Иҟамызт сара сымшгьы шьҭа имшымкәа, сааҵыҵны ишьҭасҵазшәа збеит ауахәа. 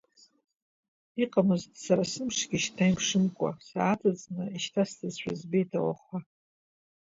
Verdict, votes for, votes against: accepted, 2, 0